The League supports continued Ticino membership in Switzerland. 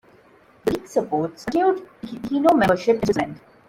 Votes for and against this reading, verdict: 0, 2, rejected